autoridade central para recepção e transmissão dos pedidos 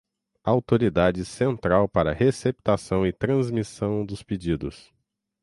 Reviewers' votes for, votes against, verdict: 0, 6, rejected